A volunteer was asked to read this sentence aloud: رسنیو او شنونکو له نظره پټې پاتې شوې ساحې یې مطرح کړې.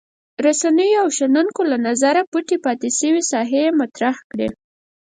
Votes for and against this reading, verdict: 4, 0, accepted